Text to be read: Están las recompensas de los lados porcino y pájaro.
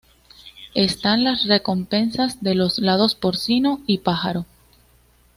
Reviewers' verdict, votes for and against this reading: accepted, 2, 0